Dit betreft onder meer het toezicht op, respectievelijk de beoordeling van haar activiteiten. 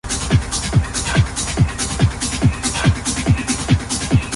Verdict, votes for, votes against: rejected, 0, 2